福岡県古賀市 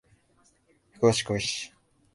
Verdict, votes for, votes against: rejected, 0, 2